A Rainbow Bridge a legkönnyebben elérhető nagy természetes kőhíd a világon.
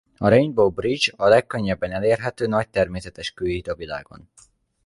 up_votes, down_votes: 2, 0